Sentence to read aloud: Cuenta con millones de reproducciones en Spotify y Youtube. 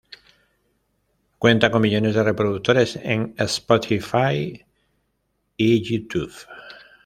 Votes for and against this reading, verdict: 1, 2, rejected